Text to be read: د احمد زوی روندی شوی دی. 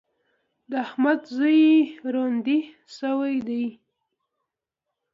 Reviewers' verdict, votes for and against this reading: accepted, 2, 0